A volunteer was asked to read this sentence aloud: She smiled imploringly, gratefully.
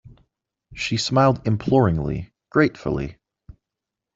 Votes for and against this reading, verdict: 2, 0, accepted